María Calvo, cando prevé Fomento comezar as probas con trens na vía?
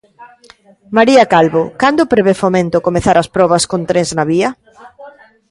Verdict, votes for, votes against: rejected, 1, 2